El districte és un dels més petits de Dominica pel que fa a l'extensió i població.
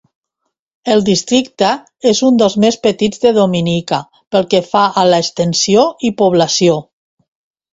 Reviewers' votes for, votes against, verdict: 2, 0, accepted